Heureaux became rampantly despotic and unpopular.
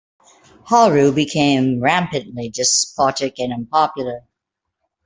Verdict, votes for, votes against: rejected, 0, 2